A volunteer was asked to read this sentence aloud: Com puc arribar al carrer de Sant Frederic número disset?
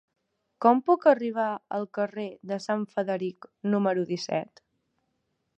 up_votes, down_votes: 2, 1